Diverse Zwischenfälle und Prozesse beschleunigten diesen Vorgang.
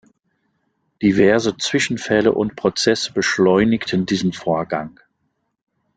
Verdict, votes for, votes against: rejected, 1, 2